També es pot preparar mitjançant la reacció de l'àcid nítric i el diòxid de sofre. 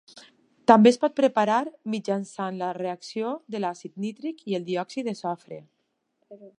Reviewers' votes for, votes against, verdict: 2, 0, accepted